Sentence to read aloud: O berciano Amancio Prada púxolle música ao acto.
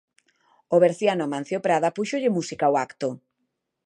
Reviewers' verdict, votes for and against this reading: accepted, 2, 0